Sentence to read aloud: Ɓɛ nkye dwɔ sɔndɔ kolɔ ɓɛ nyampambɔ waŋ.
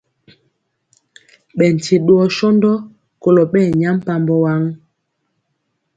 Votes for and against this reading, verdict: 2, 0, accepted